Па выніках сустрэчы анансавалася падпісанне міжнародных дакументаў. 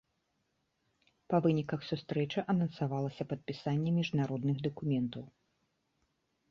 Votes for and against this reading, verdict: 2, 0, accepted